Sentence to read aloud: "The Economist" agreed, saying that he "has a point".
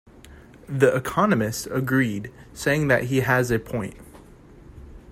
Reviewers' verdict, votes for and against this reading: accepted, 2, 0